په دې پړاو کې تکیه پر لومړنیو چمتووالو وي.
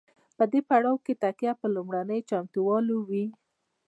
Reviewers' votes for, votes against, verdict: 0, 2, rejected